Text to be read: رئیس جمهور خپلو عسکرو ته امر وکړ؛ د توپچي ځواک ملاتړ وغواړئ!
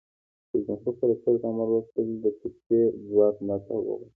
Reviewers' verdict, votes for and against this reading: accepted, 2, 0